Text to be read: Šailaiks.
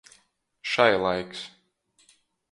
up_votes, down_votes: 2, 0